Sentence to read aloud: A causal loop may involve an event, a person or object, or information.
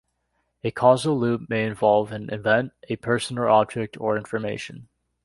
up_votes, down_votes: 2, 0